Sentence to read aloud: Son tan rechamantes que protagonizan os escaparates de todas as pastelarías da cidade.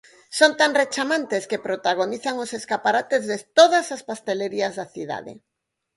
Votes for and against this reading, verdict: 2, 4, rejected